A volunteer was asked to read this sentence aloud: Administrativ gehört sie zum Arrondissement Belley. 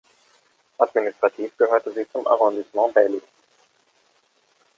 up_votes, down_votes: 1, 2